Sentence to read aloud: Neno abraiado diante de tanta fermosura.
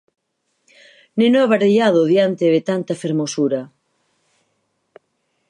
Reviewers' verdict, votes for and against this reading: accepted, 4, 0